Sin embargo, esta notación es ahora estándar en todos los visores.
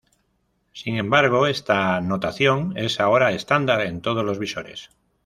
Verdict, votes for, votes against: accepted, 2, 0